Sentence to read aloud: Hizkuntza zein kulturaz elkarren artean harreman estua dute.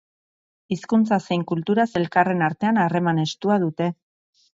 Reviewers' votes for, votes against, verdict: 4, 0, accepted